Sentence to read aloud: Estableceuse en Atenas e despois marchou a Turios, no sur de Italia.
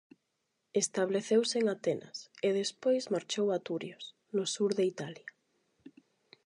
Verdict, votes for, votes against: accepted, 8, 0